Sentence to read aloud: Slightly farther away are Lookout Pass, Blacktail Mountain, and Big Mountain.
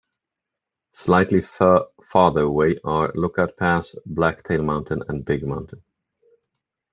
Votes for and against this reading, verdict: 1, 2, rejected